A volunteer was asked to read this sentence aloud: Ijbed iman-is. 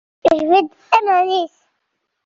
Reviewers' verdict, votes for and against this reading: accepted, 2, 0